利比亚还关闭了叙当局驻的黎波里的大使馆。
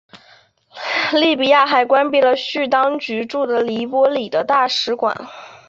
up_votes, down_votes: 2, 0